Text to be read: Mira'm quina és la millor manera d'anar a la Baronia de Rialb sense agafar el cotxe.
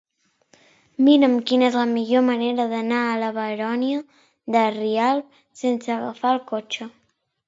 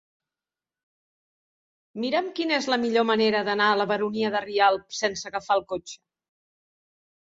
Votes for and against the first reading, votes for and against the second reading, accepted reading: 1, 2, 3, 0, second